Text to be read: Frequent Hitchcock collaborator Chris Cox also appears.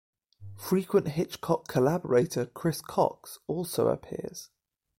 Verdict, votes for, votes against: accepted, 2, 0